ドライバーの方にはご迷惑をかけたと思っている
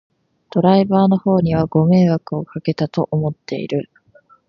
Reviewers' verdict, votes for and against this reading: rejected, 1, 2